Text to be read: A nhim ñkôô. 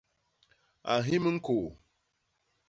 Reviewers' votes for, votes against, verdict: 2, 0, accepted